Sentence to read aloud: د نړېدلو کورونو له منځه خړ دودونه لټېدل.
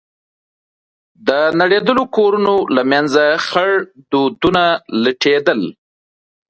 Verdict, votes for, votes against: accepted, 2, 0